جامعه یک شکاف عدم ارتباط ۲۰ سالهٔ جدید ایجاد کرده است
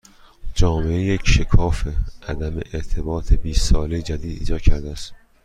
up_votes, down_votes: 0, 2